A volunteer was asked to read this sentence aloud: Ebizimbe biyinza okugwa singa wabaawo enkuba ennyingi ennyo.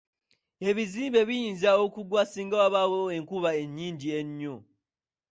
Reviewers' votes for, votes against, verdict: 2, 0, accepted